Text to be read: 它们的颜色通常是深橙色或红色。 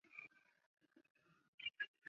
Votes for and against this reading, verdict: 0, 2, rejected